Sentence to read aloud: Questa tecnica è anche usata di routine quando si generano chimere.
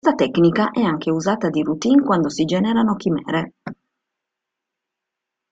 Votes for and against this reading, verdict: 0, 2, rejected